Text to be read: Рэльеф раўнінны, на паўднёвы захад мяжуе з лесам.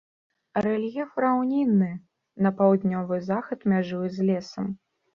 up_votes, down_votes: 2, 0